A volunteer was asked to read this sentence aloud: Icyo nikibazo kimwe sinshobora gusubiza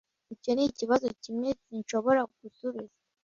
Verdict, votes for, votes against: accepted, 2, 0